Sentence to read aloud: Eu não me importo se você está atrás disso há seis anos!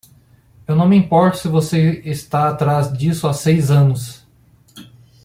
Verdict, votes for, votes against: accepted, 2, 0